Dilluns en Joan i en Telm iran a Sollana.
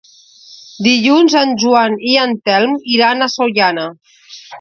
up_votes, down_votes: 2, 0